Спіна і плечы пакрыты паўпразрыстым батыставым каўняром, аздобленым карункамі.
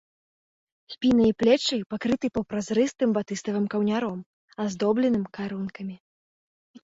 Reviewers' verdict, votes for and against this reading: accepted, 2, 0